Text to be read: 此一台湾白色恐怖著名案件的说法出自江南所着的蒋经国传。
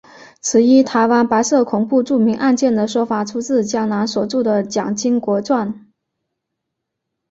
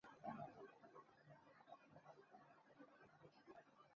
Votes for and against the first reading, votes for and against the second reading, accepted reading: 2, 0, 0, 2, first